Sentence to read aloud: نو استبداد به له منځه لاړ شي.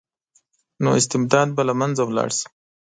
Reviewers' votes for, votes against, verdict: 2, 1, accepted